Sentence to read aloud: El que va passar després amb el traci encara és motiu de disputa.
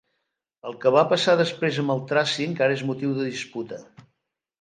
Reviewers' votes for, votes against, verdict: 2, 0, accepted